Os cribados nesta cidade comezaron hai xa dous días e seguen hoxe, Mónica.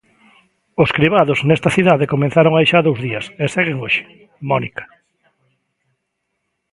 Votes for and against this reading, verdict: 0, 2, rejected